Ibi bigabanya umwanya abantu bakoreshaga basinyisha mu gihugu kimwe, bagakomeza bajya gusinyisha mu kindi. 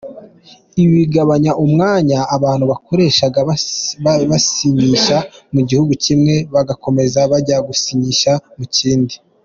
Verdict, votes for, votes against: rejected, 1, 3